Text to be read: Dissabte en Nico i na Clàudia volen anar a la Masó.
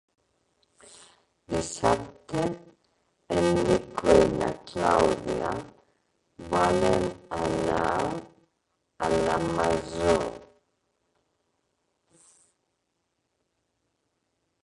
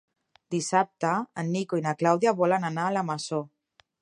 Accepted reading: second